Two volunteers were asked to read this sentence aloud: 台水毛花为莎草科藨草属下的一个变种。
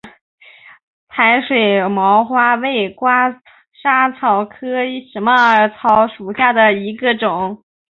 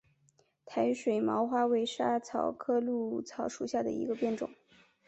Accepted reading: second